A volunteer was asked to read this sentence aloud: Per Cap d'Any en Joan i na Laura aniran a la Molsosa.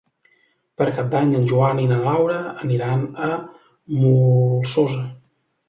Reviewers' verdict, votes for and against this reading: rejected, 1, 2